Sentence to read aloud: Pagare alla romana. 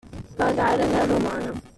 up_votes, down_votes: 2, 1